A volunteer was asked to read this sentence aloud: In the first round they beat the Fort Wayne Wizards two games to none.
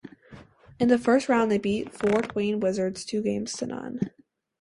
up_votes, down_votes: 0, 2